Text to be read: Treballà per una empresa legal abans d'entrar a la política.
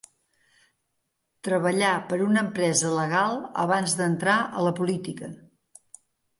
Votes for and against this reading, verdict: 2, 0, accepted